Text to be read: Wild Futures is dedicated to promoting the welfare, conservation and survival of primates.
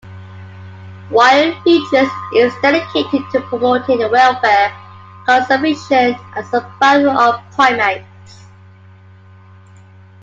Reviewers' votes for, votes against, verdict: 2, 1, accepted